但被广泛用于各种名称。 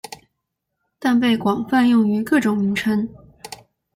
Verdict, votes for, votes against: accepted, 2, 0